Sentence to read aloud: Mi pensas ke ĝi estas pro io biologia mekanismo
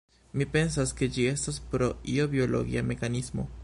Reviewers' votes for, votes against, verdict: 0, 2, rejected